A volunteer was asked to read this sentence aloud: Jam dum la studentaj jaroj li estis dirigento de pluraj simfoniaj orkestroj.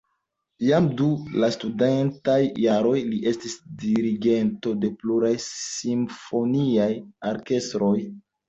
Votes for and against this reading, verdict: 0, 2, rejected